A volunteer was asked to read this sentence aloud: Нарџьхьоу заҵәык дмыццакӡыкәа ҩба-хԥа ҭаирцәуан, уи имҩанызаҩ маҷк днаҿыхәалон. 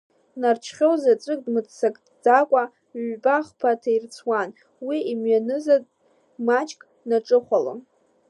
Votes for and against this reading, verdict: 2, 0, accepted